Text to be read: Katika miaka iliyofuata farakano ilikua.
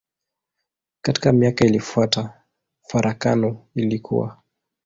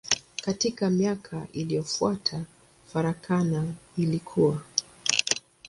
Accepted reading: first